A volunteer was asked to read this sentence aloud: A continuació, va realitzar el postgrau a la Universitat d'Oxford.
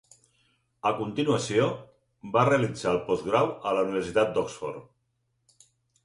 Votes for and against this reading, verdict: 4, 0, accepted